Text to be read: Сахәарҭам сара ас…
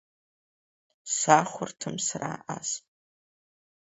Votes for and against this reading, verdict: 3, 1, accepted